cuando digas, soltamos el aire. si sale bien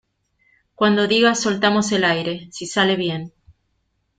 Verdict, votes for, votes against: accepted, 2, 0